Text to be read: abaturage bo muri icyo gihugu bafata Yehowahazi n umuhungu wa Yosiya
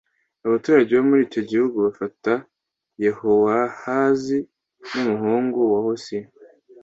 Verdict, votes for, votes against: accepted, 2, 0